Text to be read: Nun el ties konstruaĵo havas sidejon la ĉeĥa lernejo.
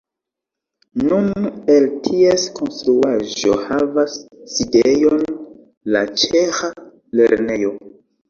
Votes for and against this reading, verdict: 1, 2, rejected